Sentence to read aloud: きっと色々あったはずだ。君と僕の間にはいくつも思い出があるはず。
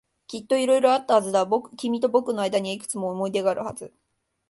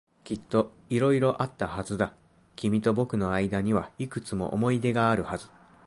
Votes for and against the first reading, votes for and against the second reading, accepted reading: 1, 2, 2, 0, second